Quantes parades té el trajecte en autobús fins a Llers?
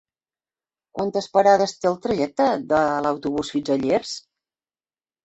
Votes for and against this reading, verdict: 1, 2, rejected